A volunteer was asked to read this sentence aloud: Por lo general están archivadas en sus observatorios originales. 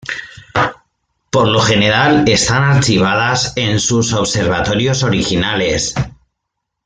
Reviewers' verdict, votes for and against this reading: rejected, 0, 2